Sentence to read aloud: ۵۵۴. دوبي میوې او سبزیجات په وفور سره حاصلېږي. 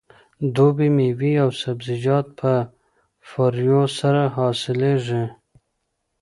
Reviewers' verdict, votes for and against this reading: rejected, 0, 2